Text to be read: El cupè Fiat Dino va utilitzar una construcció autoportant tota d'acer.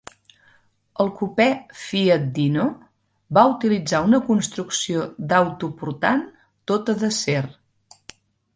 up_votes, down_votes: 1, 2